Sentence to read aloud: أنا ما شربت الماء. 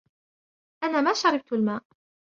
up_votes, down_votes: 2, 0